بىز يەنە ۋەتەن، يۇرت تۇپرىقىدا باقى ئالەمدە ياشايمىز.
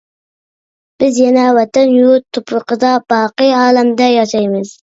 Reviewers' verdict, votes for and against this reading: accepted, 2, 0